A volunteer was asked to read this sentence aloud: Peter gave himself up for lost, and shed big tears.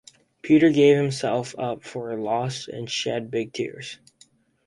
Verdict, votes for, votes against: rejected, 2, 2